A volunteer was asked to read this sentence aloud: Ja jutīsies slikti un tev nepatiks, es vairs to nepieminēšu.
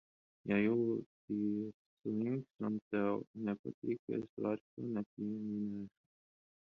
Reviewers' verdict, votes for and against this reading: rejected, 0, 10